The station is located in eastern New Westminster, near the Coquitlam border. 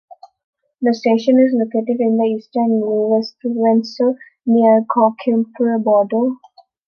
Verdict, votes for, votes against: rejected, 1, 2